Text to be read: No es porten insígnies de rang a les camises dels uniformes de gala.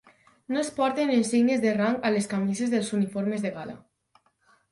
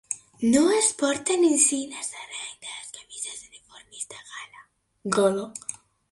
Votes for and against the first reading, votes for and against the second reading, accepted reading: 4, 0, 1, 2, first